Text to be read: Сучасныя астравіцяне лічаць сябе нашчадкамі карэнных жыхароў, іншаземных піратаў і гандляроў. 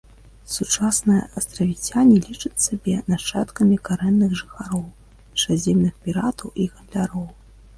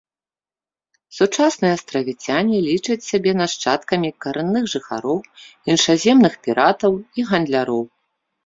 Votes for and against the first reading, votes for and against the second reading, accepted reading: 2, 3, 3, 0, second